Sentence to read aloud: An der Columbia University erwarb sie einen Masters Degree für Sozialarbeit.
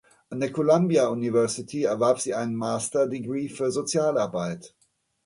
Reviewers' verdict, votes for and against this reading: rejected, 1, 2